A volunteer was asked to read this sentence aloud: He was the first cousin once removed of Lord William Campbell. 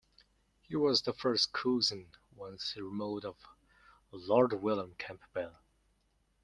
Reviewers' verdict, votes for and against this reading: rejected, 0, 2